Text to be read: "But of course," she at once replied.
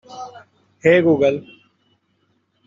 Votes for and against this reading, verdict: 0, 2, rejected